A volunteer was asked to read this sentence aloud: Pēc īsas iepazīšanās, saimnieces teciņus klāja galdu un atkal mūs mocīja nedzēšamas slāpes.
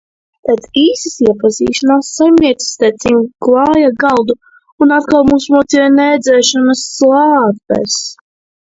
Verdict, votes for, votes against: rejected, 1, 2